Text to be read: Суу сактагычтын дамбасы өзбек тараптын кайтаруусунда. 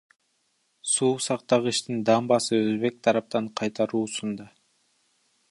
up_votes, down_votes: 0, 2